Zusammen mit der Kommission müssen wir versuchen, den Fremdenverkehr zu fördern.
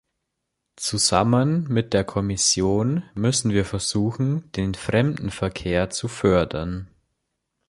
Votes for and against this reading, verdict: 3, 0, accepted